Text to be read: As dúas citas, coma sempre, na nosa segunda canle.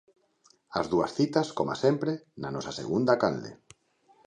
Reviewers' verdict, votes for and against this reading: accepted, 2, 0